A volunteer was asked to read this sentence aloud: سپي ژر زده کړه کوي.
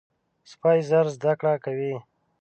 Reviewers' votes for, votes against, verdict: 0, 2, rejected